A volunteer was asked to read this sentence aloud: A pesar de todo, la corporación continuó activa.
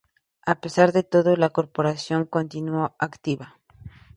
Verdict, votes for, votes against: accepted, 2, 0